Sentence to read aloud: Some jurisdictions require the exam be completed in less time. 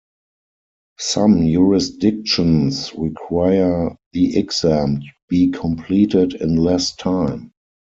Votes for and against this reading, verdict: 2, 4, rejected